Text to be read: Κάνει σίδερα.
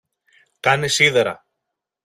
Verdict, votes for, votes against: accepted, 2, 0